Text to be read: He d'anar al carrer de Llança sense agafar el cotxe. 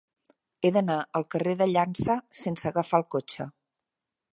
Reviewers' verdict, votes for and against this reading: accepted, 3, 0